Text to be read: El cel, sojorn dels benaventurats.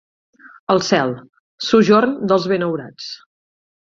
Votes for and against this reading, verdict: 0, 2, rejected